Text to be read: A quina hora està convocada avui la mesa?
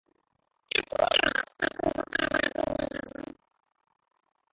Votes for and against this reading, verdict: 0, 2, rejected